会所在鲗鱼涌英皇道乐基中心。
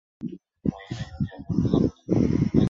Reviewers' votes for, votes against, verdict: 0, 2, rejected